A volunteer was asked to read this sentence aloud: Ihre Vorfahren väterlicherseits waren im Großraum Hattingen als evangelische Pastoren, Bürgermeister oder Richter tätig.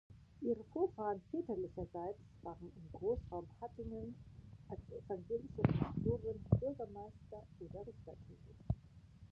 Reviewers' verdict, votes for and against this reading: rejected, 0, 2